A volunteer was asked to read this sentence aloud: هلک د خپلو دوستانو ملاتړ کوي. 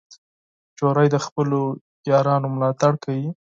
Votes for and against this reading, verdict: 0, 6, rejected